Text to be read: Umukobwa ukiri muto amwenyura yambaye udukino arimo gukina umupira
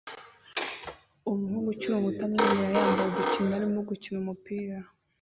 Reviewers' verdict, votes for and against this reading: rejected, 0, 2